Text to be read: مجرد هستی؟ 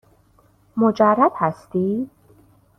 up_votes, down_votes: 2, 0